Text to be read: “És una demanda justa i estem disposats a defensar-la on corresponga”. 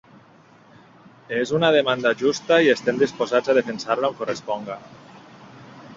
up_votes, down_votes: 2, 0